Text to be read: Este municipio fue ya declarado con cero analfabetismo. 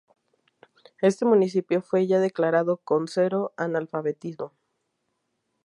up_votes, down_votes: 0, 2